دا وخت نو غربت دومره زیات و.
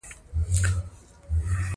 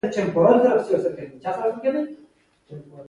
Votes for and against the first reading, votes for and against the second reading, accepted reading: 0, 2, 2, 0, second